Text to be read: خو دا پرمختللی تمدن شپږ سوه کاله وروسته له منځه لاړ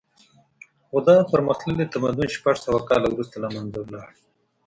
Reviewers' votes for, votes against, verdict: 2, 0, accepted